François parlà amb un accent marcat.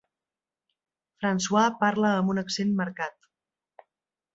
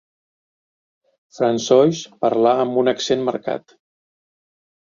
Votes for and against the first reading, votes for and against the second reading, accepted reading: 0, 2, 4, 1, second